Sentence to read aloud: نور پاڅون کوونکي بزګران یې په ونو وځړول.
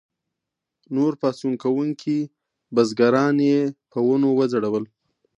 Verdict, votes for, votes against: accepted, 2, 1